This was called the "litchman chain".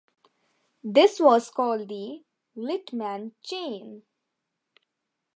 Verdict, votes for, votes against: accepted, 2, 0